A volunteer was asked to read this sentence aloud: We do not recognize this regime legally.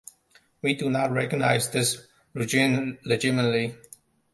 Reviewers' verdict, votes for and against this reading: rejected, 1, 2